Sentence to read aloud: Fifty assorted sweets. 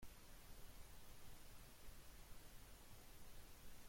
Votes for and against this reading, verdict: 0, 2, rejected